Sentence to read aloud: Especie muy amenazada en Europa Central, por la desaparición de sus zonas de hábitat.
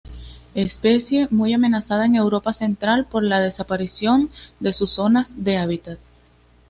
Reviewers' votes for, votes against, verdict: 2, 0, accepted